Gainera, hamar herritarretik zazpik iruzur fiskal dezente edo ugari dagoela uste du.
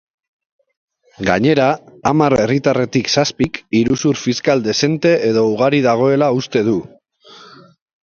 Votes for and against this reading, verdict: 2, 1, accepted